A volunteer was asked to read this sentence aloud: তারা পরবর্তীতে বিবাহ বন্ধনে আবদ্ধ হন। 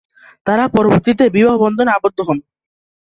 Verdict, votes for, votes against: accepted, 5, 1